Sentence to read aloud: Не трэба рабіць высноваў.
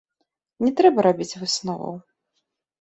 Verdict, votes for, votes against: rejected, 1, 2